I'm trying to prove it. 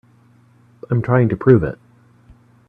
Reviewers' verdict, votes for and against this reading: accepted, 2, 0